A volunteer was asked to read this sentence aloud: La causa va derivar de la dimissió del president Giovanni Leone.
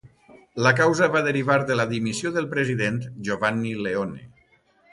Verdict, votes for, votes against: accepted, 2, 0